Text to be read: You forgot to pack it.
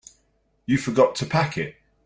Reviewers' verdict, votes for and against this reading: accepted, 3, 0